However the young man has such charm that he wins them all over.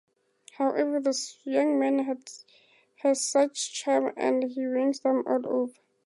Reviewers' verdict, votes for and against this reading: accepted, 2, 0